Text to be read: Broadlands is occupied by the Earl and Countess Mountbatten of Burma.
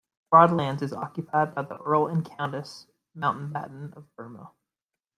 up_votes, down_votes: 0, 2